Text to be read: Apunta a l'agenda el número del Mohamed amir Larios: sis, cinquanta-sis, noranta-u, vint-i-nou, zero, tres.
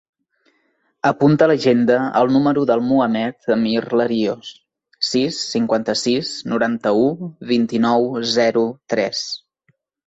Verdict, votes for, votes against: accepted, 2, 0